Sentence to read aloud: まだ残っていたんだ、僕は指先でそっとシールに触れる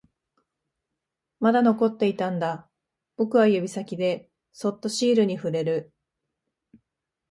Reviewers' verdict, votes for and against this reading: accepted, 2, 0